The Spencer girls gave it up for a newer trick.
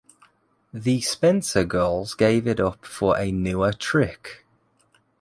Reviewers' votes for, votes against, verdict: 2, 0, accepted